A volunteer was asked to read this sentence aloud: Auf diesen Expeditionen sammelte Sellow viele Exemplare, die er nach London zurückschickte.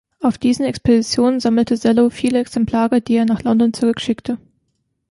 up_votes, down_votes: 2, 1